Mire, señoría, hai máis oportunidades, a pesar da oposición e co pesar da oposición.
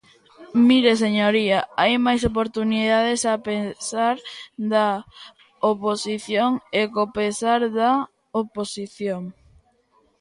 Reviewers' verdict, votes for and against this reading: rejected, 0, 2